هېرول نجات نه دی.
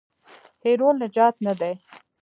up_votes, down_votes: 0, 2